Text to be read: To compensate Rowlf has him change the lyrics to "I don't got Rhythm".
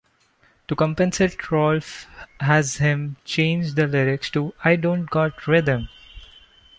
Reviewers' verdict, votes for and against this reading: accepted, 2, 0